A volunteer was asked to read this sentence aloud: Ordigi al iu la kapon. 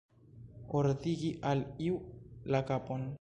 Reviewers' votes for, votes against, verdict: 2, 0, accepted